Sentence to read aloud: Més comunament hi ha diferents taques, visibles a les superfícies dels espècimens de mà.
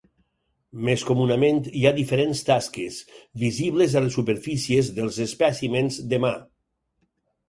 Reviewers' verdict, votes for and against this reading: rejected, 0, 4